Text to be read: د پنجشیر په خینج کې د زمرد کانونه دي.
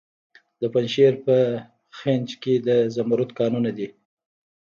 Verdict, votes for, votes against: accepted, 2, 0